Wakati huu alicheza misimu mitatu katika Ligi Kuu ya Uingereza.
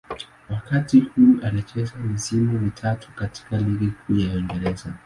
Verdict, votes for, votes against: accepted, 2, 0